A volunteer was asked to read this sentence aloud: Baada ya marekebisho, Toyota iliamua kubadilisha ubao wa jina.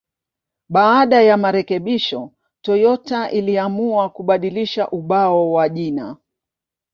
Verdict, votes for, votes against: accepted, 2, 0